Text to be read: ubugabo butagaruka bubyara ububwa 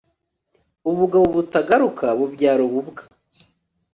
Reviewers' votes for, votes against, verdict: 4, 0, accepted